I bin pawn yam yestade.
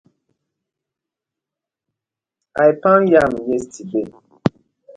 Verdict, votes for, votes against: rejected, 0, 2